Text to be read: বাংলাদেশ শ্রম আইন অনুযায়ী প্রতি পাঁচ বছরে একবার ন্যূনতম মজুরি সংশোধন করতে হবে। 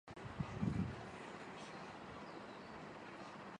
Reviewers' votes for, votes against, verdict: 0, 2, rejected